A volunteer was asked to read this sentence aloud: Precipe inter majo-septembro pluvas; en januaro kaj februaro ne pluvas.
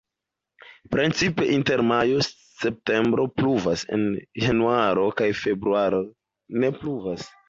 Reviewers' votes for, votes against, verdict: 1, 2, rejected